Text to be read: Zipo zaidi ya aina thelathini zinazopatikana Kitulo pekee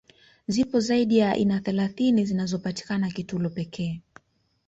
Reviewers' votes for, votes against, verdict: 2, 0, accepted